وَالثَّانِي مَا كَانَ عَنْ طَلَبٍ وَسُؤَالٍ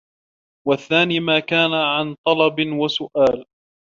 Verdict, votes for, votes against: accepted, 2, 0